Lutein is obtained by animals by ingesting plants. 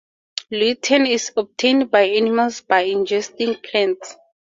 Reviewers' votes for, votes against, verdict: 2, 0, accepted